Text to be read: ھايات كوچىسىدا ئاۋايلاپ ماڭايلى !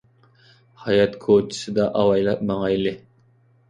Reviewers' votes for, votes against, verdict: 2, 0, accepted